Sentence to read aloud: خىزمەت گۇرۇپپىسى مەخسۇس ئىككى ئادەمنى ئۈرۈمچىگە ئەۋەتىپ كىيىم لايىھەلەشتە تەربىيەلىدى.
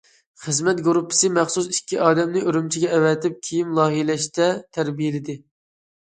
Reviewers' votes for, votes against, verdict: 2, 1, accepted